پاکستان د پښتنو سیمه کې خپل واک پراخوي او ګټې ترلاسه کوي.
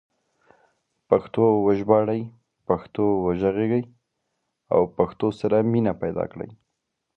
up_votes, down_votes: 0, 2